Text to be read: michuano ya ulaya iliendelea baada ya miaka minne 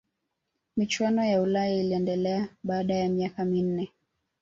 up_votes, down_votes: 1, 2